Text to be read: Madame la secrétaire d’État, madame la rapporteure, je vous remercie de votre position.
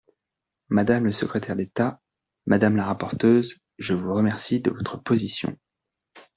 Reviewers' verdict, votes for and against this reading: rejected, 0, 2